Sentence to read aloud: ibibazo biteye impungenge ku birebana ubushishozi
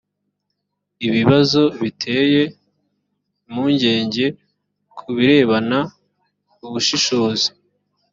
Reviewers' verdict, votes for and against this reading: accepted, 2, 0